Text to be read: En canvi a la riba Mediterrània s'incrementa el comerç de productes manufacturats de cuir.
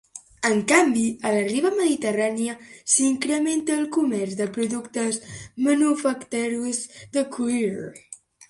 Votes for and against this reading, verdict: 1, 2, rejected